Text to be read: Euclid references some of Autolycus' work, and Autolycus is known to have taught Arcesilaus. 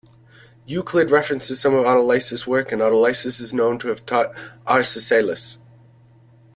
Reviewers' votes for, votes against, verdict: 2, 1, accepted